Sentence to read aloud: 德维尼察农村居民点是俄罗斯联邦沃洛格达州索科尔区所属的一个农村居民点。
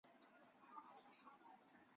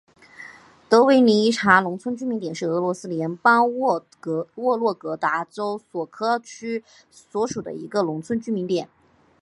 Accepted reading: second